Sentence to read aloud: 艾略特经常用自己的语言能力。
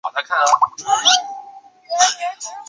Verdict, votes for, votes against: accepted, 2, 1